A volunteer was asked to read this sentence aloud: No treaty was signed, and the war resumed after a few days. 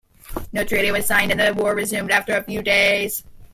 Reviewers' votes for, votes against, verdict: 2, 1, accepted